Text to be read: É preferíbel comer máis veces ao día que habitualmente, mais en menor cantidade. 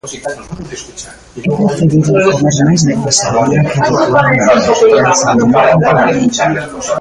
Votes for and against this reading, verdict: 0, 2, rejected